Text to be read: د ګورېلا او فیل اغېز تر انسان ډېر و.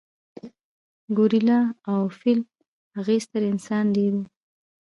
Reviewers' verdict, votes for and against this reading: rejected, 1, 2